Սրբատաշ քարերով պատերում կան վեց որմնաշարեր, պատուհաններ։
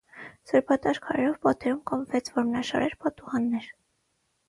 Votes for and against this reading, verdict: 0, 6, rejected